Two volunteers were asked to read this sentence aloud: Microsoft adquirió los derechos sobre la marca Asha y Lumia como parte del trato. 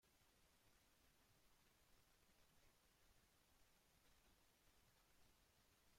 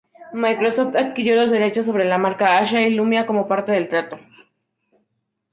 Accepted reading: second